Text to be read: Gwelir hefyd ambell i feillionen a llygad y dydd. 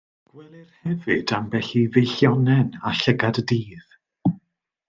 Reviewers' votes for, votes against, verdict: 1, 2, rejected